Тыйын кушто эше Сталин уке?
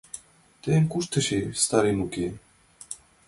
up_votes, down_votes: 2, 0